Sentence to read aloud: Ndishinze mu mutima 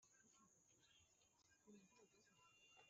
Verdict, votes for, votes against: rejected, 1, 2